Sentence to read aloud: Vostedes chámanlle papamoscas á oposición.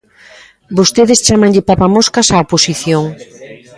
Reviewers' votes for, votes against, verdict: 1, 2, rejected